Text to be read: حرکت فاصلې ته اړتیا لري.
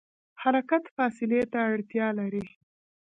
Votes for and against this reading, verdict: 2, 1, accepted